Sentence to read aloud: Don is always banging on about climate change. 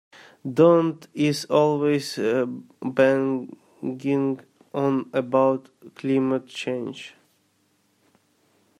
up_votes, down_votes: 0, 2